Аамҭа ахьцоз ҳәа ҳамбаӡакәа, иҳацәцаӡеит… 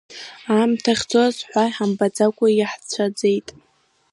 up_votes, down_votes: 1, 2